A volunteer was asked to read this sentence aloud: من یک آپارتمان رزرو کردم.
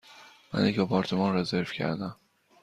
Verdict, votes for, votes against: accepted, 2, 0